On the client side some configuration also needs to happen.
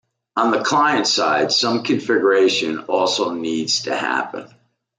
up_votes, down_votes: 2, 0